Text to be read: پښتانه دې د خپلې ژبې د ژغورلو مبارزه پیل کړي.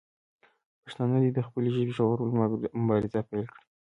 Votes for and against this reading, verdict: 1, 2, rejected